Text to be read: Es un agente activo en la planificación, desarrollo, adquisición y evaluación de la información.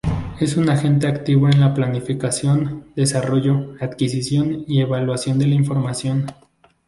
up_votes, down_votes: 2, 0